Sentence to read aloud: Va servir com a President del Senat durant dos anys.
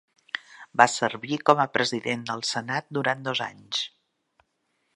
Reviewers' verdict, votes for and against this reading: accepted, 3, 0